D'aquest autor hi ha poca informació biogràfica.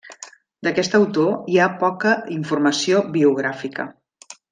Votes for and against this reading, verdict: 3, 0, accepted